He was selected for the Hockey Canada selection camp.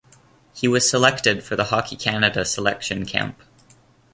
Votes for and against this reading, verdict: 2, 0, accepted